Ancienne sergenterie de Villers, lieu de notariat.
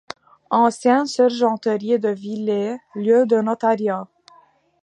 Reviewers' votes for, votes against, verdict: 2, 1, accepted